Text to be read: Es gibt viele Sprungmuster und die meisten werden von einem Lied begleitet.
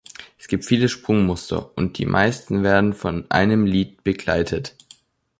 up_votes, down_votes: 2, 0